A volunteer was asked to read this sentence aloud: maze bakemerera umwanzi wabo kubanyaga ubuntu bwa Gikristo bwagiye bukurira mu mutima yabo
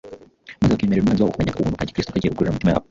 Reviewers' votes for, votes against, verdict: 1, 2, rejected